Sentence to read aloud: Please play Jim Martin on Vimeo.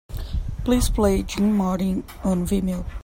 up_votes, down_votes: 2, 0